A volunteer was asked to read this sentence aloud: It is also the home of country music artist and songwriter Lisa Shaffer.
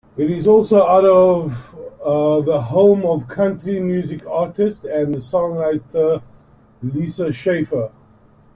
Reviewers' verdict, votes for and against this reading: rejected, 0, 2